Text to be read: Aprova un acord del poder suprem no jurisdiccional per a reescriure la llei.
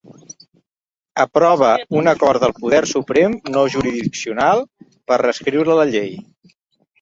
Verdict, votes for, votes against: rejected, 0, 2